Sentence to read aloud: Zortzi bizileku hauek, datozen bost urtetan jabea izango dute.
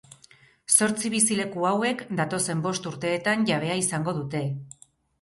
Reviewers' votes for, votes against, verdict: 2, 2, rejected